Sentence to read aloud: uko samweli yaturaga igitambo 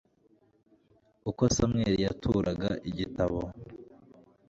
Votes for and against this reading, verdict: 1, 2, rejected